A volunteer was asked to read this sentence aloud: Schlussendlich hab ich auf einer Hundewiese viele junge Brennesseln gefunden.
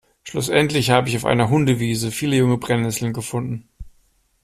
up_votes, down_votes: 2, 0